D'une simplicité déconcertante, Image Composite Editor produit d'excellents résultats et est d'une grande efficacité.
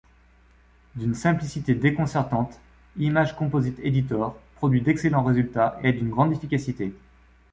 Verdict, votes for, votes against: rejected, 1, 2